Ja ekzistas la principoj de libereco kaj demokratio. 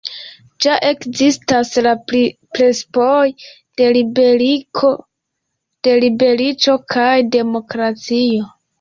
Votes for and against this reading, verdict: 2, 1, accepted